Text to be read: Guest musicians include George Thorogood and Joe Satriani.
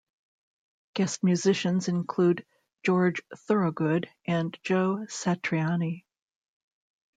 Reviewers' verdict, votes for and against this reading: accepted, 2, 0